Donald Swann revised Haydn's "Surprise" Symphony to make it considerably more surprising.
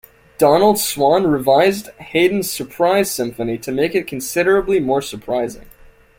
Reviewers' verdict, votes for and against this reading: accepted, 2, 0